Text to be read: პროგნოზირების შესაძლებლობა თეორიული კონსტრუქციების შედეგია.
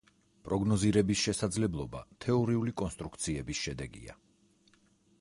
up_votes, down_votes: 4, 0